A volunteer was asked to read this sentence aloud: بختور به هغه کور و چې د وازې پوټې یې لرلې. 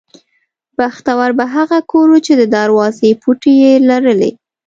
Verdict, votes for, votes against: rejected, 0, 2